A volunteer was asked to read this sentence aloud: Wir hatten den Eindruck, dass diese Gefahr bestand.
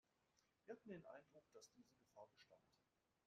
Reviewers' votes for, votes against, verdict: 0, 2, rejected